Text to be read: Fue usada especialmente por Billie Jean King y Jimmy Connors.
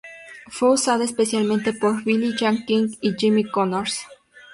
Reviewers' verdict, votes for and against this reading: rejected, 0, 2